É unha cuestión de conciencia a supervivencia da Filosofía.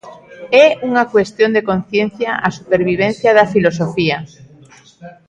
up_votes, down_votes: 2, 0